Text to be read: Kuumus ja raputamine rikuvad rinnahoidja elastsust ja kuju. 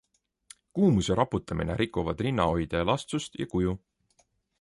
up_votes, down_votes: 2, 0